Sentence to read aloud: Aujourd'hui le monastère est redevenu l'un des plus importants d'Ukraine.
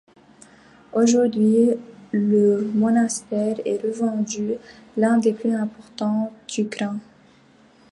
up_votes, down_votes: 0, 2